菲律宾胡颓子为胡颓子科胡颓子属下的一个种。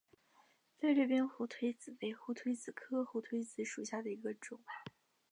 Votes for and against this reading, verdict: 2, 0, accepted